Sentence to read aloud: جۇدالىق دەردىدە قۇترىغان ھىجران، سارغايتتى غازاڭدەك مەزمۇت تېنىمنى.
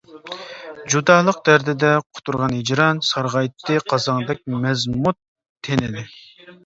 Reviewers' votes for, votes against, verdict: 0, 2, rejected